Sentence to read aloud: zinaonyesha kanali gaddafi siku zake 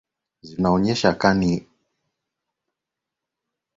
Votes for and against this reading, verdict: 0, 2, rejected